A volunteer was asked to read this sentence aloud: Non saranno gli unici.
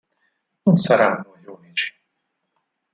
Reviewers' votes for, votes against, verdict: 2, 4, rejected